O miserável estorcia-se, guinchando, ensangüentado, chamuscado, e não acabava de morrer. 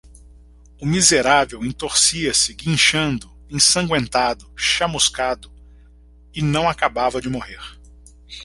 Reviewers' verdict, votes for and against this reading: rejected, 1, 2